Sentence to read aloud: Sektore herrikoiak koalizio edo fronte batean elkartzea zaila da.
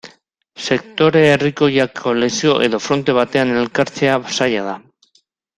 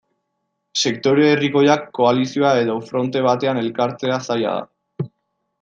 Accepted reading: second